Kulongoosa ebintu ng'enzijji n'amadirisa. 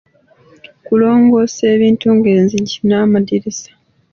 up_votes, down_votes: 1, 2